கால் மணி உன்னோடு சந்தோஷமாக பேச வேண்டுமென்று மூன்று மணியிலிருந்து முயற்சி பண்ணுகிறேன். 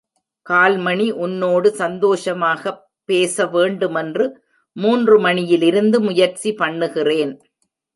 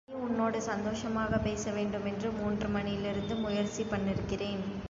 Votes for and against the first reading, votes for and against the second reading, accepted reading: 2, 0, 1, 2, first